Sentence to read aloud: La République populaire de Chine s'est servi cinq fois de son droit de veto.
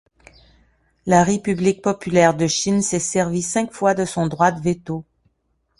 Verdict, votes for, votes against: accepted, 2, 1